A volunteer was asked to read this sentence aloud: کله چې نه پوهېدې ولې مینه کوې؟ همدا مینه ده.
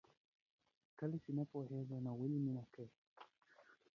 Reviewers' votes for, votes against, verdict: 0, 2, rejected